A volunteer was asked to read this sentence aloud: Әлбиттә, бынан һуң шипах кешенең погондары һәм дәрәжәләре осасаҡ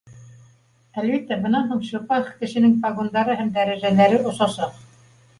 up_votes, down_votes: 2, 0